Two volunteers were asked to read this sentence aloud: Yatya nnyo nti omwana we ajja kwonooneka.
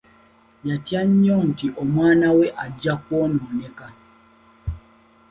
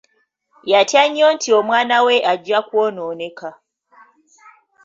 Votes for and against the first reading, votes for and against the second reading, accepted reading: 2, 0, 1, 2, first